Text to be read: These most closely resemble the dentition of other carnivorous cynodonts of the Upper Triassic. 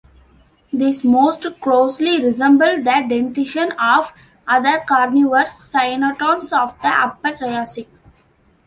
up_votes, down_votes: 2, 0